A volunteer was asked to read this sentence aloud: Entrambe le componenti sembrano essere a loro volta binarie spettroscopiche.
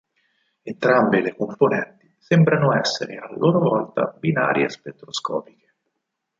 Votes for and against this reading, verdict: 4, 0, accepted